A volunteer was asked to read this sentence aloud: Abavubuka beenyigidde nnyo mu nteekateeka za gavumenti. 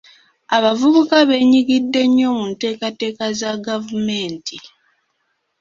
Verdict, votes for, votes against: accepted, 2, 1